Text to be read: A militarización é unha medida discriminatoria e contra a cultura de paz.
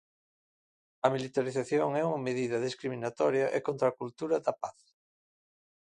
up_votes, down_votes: 1, 2